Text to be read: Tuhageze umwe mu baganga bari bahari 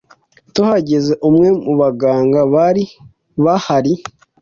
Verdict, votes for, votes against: accepted, 2, 0